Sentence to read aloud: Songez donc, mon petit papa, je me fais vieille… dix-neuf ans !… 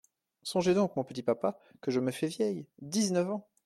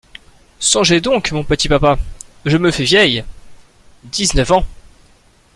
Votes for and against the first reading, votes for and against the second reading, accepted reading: 1, 2, 2, 0, second